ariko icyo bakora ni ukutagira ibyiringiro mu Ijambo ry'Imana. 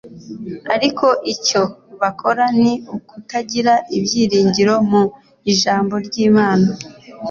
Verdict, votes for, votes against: accepted, 2, 0